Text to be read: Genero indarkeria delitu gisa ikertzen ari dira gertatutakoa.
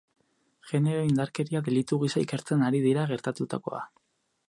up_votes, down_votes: 4, 0